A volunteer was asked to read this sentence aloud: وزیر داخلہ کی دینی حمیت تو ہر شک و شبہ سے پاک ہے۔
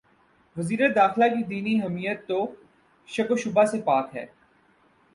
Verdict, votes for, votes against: rejected, 0, 2